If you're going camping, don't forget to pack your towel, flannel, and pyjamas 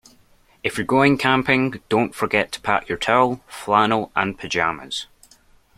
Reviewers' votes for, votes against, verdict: 2, 0, accepted